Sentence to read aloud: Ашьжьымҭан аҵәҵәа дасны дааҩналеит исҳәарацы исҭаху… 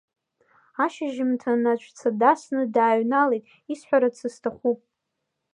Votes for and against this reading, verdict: 0, 2, rejected